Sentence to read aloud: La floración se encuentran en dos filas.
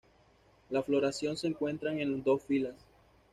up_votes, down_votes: 2, 0